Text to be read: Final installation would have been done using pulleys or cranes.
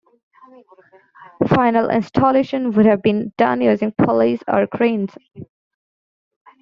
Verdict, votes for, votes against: rejected, 1, 2